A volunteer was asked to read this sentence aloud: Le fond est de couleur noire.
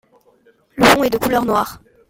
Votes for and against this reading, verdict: 1, 2, rejected